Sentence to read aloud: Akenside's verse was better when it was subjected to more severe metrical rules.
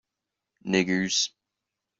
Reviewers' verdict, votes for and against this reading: rejected, 0, 2